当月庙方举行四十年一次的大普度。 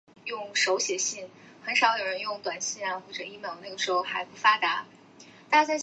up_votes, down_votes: 0, 2